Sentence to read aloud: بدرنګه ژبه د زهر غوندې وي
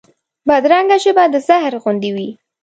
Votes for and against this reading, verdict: 2, 0, accepted